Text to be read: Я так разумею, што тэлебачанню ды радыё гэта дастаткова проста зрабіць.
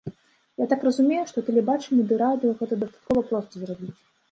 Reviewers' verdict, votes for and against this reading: rejected, 1, 2